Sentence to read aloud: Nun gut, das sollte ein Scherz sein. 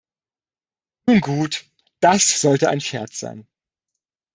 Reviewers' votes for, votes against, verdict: 1, 2, rejected